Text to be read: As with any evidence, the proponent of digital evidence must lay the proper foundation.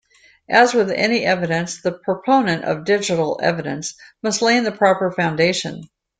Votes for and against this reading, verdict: 2, 0, accepted